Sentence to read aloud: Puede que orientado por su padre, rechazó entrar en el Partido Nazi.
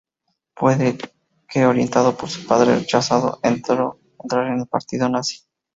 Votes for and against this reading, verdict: 0, 2, rejected